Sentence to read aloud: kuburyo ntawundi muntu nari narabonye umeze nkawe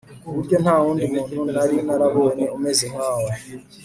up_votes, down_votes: 2, 0